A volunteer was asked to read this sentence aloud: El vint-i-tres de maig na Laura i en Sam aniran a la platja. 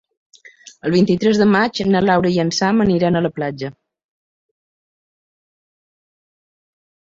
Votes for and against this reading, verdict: 2, 0, accepted